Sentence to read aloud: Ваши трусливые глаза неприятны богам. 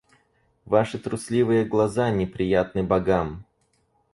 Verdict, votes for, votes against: rejected, 0, 4